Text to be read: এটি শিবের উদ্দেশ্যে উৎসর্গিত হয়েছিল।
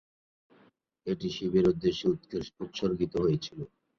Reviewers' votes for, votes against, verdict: 0, 2, rejected